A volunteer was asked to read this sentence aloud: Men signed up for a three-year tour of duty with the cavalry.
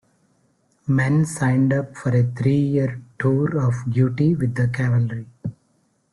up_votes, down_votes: 0, 2